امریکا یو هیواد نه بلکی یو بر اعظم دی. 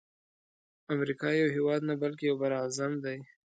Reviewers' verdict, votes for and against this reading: accepted, 2, 0